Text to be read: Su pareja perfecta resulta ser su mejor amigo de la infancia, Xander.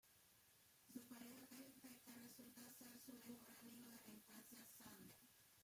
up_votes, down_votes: 0, 2